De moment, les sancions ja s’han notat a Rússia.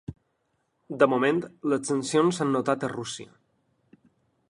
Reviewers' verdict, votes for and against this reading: rejected, 1, 2